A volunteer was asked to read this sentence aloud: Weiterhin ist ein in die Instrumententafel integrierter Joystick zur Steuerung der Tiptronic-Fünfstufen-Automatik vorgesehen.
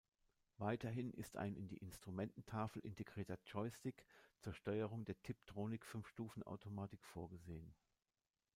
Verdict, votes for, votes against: rejected, 0, 2